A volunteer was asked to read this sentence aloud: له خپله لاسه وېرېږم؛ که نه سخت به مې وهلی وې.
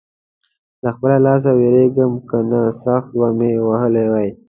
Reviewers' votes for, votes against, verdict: 2, 0, accepted